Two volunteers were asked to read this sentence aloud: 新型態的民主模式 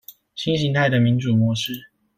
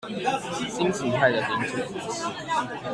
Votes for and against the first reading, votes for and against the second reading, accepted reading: 2, 0, 1, 2, first